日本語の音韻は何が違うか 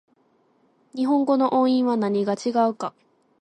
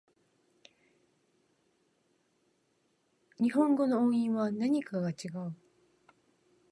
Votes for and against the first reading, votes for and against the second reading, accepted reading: 2, 0, 0, 2, first